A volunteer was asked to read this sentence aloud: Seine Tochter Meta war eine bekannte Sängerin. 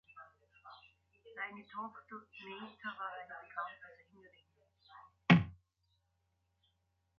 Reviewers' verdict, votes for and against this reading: rejected, 0, 2